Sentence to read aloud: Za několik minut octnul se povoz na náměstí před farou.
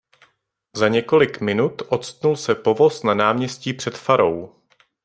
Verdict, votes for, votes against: accepted, 2, 0